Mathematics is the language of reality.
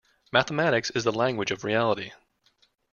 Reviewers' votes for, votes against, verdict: 2, 0, accepted